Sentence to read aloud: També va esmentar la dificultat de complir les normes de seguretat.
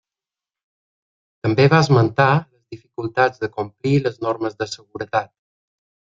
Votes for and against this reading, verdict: 1, 2, rejected